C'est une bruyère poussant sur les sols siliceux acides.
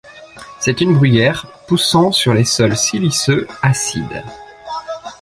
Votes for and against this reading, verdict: 2, 0, accepted